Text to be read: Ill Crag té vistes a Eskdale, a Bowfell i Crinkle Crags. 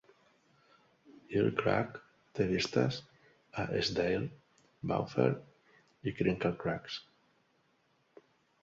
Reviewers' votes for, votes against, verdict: 1, 2, rejected